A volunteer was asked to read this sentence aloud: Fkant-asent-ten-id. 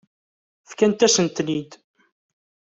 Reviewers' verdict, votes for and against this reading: accepted, 2, 0